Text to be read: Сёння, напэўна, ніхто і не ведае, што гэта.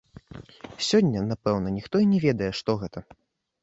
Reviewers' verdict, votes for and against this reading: rejected, 0, 2